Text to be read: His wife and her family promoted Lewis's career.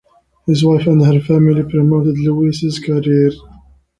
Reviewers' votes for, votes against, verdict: 3, 1, accepted